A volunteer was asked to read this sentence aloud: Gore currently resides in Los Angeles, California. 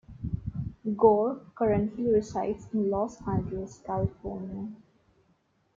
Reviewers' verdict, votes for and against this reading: accepted, 2, 0